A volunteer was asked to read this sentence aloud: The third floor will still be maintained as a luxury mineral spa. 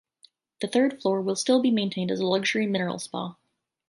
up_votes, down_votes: 0, 2